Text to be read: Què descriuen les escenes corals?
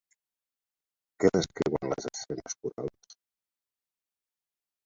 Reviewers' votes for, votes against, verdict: 0, 2, rejected